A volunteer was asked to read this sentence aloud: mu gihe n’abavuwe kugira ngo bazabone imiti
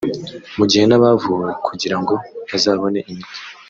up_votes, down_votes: 1, 2